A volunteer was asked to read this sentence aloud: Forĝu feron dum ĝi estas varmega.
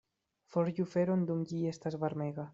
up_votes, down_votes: 2, 1